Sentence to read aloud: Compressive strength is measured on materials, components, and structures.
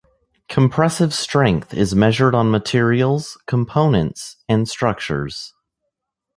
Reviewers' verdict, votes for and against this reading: accepted, 2, 0